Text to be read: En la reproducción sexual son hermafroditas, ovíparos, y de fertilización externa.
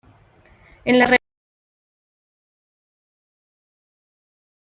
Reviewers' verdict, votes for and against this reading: rejected, 0, 2